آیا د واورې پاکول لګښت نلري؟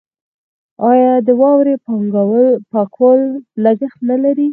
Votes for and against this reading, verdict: 2, 4, rejected